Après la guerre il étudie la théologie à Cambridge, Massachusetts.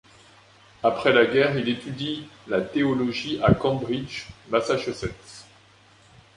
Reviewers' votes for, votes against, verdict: 2, 0, accepted